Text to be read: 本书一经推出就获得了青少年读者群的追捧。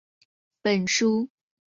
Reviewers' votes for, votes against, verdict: 0, 4, rejected